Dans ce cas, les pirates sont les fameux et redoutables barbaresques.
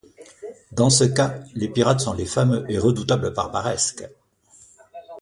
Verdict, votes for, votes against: rejected, 1, 2